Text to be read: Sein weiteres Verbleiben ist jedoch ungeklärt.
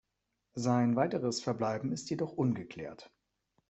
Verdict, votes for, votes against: accepted, 2, 0